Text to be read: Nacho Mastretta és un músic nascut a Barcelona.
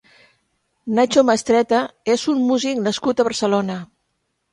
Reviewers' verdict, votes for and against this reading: accepted, 6, 0